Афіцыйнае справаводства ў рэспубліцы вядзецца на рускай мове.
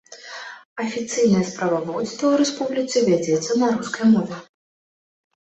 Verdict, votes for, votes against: accepted, 2, 0